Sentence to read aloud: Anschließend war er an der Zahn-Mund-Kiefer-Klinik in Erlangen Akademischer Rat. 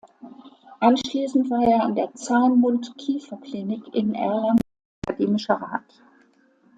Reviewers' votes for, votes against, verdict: 1, 2, rejected